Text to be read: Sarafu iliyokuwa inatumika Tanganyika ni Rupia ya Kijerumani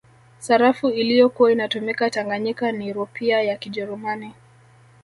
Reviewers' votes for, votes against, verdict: 2, 0, accepted